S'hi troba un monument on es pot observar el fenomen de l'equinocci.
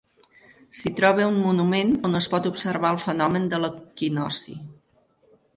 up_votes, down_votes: 4, 0